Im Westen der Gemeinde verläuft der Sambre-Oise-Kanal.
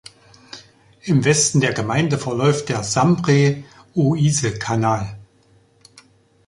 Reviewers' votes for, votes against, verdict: 3, 2, accepted